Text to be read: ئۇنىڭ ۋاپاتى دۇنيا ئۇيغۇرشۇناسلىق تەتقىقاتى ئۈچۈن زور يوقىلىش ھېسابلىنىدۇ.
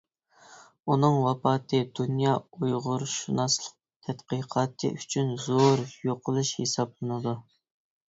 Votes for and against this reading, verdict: 2, 0, accepted